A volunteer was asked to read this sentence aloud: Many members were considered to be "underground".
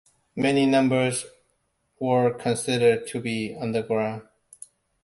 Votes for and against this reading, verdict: 0, 2, rejected